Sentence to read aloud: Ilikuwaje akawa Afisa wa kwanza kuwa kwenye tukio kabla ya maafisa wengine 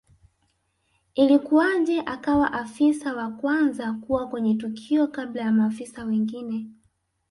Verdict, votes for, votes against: rejected, 0, 2